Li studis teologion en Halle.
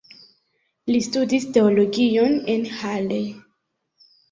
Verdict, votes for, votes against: accepted, 2, 0